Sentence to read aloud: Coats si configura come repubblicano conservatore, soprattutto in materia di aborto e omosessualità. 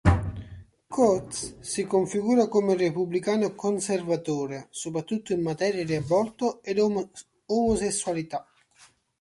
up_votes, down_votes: 1, 3